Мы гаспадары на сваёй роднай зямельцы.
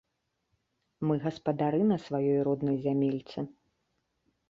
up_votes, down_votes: 2, 0